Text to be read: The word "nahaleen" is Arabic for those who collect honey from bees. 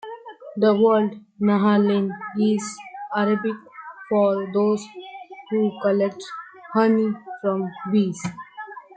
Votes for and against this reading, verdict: 2, 0, accepted